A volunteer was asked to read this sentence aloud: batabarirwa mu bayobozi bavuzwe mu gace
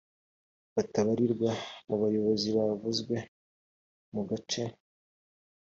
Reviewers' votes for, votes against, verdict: 3, 0, accepted